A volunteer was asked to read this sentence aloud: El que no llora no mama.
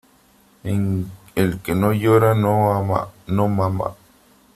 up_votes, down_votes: 0, 2